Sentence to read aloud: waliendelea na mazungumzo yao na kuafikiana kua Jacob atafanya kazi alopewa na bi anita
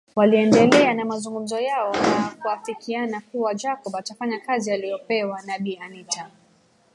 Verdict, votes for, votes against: rejected, 0, 2